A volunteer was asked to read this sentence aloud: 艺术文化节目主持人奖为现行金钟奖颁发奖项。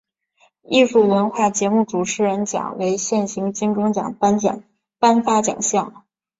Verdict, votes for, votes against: rejected, 1, 2